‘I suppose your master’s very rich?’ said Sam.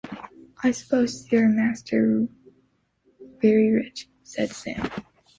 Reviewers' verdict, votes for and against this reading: accepted, 2, 0